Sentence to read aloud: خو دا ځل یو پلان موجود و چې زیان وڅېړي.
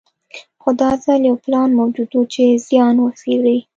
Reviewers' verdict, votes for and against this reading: accepted, 2, 0